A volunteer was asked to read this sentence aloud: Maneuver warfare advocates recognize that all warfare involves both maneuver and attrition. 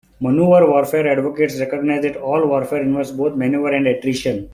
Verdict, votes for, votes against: rejected, 0, 2